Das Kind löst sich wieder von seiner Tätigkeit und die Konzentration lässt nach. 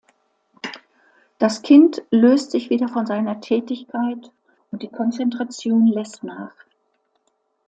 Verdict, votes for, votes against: accepted, 2, 0